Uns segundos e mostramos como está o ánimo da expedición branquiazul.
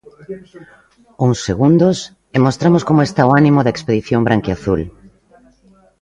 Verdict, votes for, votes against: rejected, 1, 2